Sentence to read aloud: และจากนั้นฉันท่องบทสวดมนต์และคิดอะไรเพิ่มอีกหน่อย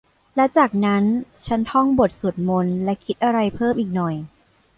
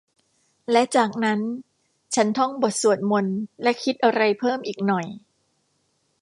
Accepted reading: second